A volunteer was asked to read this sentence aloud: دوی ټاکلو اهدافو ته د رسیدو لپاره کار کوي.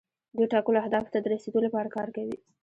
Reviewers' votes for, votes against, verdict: 2, 0, accepted